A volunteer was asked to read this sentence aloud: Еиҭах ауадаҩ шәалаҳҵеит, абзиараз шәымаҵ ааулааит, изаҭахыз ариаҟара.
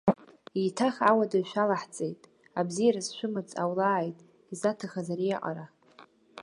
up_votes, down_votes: 0, 2